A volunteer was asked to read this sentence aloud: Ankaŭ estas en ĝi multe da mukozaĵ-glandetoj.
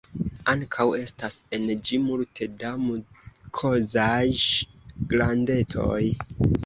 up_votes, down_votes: 2, 0